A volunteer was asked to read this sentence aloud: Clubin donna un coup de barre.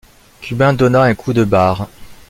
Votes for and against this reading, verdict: 1, 2, rejected